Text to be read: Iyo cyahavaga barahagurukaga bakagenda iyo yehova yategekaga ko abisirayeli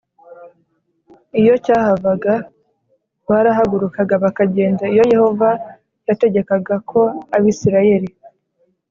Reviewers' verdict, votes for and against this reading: accepted, 2, 0